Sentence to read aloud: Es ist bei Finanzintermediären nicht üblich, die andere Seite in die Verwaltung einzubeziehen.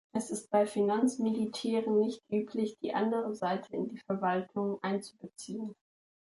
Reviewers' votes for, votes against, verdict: 0, 2, rejected